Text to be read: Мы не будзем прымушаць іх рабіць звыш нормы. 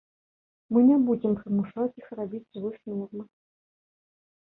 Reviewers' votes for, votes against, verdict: 1, 2, rejected